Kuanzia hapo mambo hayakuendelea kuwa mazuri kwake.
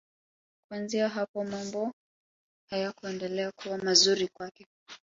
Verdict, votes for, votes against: accepted, 2, 1